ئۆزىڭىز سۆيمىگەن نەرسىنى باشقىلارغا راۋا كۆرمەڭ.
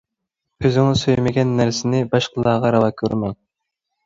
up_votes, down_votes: 1, 2